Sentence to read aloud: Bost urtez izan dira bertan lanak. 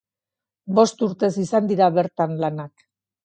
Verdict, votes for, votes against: accepted, 2, 0